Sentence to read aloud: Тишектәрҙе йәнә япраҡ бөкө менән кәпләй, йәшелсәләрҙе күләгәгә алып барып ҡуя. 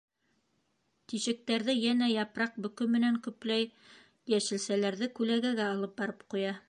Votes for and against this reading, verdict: 0, 2, rejected